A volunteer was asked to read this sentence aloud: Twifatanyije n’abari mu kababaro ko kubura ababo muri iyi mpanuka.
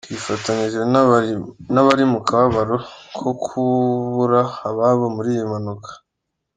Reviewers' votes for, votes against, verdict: 2, 1, accepted